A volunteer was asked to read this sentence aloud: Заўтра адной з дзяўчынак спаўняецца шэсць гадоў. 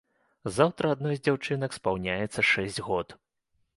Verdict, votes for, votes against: rejected, 0, 2